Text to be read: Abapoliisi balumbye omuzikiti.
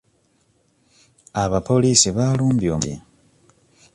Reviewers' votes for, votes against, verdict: 0, 2, rejected